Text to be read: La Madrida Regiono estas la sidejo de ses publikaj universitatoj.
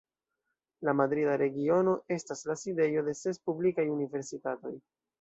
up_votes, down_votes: 0, 2